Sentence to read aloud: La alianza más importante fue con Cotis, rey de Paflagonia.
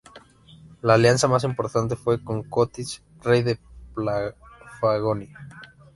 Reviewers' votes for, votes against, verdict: 0, 2, rejected